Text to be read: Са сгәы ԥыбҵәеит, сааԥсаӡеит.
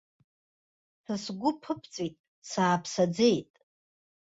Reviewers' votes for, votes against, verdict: 1, 2, rejected